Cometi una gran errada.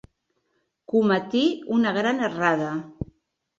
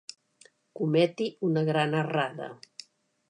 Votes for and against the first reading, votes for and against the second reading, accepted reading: 1, 2, 2, 0, second